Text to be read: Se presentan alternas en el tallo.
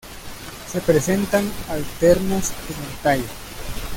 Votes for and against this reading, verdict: 2, 0, accepted